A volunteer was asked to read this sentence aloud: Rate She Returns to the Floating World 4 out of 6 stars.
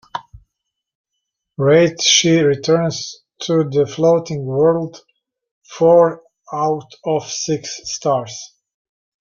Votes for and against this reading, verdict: 0, 2, rejected